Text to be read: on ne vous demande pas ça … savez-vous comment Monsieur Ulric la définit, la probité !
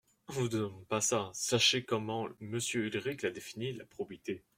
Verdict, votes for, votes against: rejected, 0, 2